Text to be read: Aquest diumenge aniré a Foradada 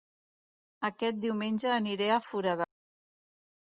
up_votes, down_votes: 0, 3